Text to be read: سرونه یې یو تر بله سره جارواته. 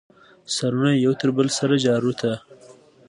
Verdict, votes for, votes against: accepted, 2, 0